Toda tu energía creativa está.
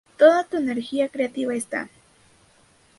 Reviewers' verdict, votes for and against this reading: accepted, 2, 0